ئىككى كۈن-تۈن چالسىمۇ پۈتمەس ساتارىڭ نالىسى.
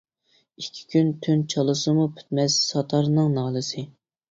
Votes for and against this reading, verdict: 0, 2, rejected